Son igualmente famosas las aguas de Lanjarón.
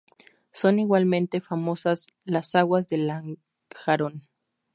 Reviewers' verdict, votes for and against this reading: accepted, 2, 0